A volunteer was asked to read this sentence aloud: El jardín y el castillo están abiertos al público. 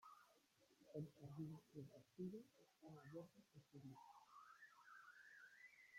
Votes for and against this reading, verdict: 0, 2, rejected